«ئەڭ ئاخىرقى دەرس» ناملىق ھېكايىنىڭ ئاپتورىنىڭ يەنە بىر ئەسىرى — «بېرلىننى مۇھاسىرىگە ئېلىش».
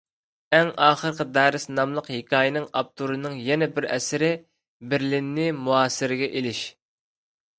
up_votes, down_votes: 2, 0